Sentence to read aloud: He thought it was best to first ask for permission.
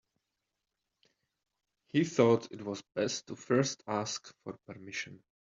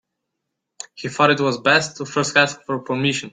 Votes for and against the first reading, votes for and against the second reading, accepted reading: 2, 0, 0, 2, first